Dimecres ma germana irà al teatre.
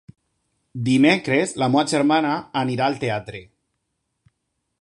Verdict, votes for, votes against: rejected, 0, 2